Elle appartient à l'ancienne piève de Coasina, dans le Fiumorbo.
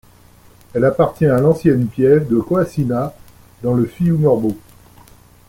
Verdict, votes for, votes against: accepted, 2, 0